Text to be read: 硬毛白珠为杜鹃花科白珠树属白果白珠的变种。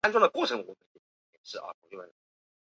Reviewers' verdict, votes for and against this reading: rejected, 0, 3